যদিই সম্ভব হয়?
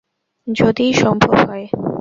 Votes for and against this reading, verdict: 2, 0, accepted